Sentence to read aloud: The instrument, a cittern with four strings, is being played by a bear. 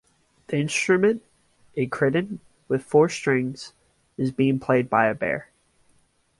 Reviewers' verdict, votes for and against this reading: accepted, 2, 1